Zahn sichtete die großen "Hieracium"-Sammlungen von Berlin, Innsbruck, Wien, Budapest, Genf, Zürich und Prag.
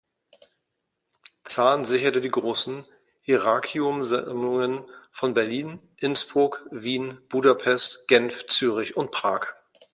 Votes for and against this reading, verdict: 0, 2, rejected